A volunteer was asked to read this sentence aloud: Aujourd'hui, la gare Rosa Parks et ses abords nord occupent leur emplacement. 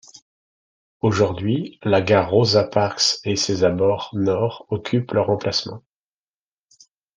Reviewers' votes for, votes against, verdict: 2, 0, accepted